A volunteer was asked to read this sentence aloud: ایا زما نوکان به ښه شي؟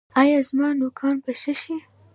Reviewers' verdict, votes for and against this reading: accepted, 2, 0